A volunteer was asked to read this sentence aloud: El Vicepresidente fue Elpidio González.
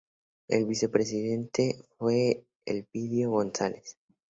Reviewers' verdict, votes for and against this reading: accepted, 2, 0